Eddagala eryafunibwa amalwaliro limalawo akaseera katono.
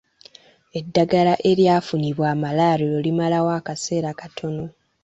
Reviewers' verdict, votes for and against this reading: rejected, 1, 2